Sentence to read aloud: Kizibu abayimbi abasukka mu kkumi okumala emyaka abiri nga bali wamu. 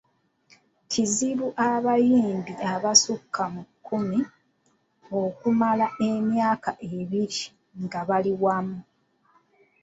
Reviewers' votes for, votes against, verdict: 0, 2, rejected